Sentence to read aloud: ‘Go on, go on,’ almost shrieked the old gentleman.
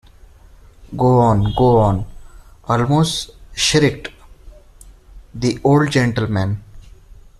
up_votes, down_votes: 2, 0